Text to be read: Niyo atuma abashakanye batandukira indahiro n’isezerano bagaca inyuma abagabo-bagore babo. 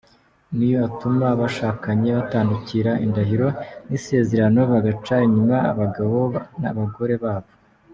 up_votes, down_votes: 2, 1